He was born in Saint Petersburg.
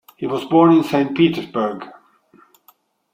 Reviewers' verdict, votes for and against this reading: accepted, 2, 0